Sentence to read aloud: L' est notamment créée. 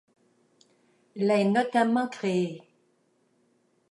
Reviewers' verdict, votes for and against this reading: accepted, 2, 1